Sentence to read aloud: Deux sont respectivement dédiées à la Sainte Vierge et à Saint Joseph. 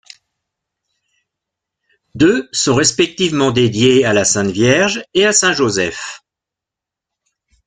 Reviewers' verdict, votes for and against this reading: accepted, 2, 0